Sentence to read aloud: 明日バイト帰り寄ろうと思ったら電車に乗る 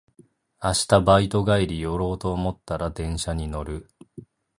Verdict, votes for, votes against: accepted, 2, 0